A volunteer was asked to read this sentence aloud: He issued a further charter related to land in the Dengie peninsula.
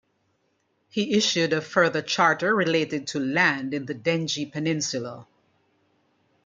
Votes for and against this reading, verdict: 2, 1, accepted